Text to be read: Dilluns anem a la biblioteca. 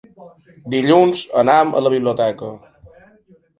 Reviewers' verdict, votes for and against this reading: accepted, 2, 1